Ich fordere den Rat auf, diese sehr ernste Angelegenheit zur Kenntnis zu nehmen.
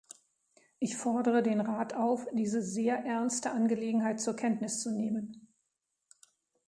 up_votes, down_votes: 2, 0